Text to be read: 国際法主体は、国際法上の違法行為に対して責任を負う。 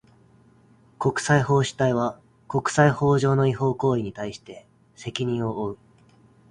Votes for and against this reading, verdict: 2, 0, accepted